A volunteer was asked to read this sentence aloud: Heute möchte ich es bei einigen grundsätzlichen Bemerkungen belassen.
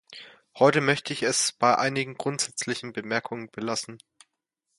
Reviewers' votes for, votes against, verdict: 2, 0, accepted